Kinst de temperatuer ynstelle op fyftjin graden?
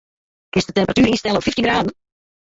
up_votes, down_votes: 0, 2